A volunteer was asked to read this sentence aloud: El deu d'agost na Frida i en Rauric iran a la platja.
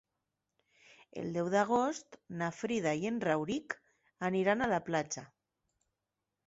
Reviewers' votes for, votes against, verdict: 0, 6, rejected